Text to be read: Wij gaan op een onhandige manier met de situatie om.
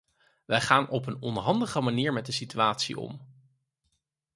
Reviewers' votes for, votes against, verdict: 4, 0, accepted